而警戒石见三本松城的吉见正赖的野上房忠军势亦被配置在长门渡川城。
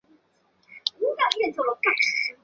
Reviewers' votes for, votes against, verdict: 0, 2, rejected